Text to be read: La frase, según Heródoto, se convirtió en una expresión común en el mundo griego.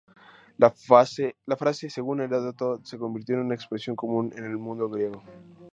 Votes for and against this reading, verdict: 0, 2, rejected